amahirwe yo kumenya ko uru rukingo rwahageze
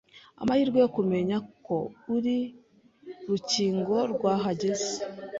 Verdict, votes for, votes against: rejected, 0, 2